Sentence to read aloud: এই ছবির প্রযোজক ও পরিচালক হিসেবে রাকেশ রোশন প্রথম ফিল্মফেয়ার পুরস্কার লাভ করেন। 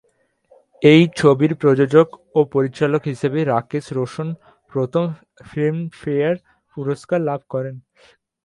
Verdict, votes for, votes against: rejected, 4, 5